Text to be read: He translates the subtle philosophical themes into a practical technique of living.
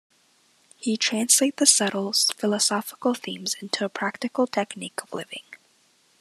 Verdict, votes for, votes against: rejected, 0, 2